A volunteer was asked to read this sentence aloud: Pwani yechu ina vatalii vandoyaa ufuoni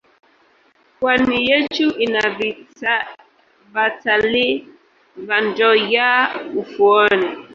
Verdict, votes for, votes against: rejected, 1, 2